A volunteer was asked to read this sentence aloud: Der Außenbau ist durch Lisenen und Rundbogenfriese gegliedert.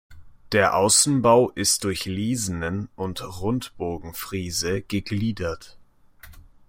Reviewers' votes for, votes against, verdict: 2, 0, accepted